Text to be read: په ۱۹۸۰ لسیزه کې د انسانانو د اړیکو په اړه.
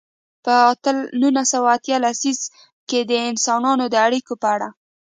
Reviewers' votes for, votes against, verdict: 0, 2, rejected